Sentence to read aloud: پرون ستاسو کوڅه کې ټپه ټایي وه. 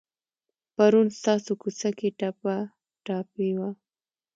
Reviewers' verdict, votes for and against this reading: rejected, 0, 2